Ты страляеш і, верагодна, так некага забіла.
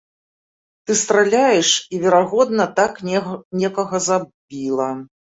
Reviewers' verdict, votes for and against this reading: rejected, 0, 2